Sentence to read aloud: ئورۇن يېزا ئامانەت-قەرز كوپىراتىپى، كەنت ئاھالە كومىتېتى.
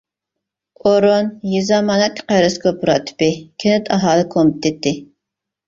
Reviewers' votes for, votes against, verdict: 2, 0, accepted